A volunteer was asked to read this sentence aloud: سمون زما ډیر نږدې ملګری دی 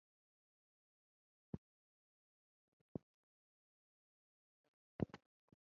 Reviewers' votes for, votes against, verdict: 0, 2, rejected